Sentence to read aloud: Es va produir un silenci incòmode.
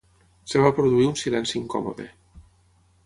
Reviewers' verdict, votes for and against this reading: rejected, 0, 6